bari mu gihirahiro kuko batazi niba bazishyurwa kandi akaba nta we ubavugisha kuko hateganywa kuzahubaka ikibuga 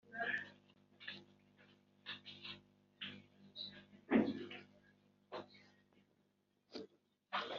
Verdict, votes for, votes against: rejected, 0, 2